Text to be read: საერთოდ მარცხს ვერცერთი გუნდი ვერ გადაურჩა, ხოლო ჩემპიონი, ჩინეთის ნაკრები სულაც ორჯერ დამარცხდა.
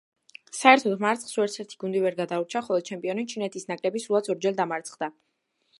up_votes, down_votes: 2, 1